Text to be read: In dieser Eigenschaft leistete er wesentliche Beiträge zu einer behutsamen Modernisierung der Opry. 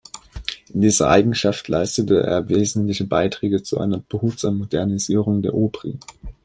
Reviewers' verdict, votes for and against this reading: accepted, 2, 0